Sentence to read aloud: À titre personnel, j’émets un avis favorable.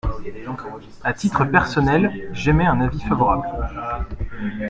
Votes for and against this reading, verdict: 1, 2, rejected